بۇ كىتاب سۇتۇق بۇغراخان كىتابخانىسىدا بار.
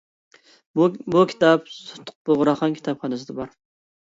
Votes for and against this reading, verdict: 0, 3, rejected